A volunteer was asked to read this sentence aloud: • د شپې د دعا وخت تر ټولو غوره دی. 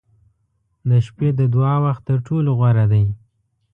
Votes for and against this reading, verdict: 2, 0, accepted